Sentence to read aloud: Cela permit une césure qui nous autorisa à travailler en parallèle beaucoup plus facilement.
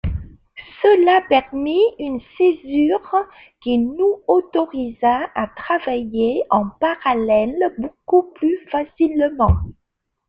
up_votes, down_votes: 2, 0